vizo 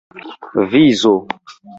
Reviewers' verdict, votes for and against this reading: rejected, 1, 2